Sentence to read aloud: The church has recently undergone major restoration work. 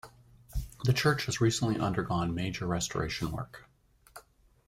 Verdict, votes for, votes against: accepted, 2, 0